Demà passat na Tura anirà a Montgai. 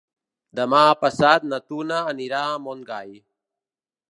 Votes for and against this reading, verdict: 1, 2, rejected